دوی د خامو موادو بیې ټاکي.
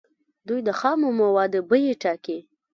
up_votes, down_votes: 0, 2